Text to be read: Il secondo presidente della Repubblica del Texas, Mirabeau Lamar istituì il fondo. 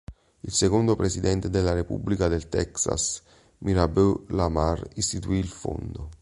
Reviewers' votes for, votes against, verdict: 2, 0, accepted